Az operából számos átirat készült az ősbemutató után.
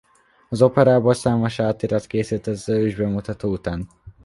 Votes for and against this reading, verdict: 2, 1, accepted